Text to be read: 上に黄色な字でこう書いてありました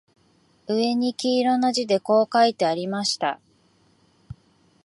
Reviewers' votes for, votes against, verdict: 14, 1, accepted